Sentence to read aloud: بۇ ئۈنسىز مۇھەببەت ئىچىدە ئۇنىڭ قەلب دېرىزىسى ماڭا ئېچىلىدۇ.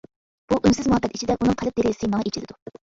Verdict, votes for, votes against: rejected, 0, 2